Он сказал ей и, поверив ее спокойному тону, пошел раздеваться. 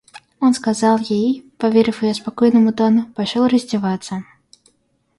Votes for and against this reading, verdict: 2, 0, accepted